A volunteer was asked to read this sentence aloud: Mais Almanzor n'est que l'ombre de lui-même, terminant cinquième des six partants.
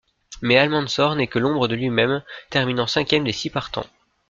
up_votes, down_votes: 2, 0